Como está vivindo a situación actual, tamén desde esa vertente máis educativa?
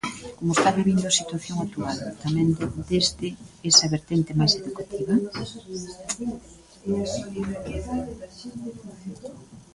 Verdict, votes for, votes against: rejected, 1, 2